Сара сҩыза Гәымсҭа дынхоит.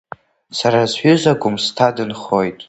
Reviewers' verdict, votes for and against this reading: accepted, 2, 0